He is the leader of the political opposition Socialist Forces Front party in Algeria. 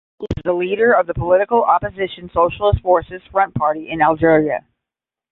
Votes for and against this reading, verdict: 0, 10, rejected